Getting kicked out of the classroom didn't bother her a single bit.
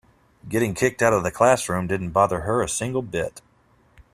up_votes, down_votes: 2, 0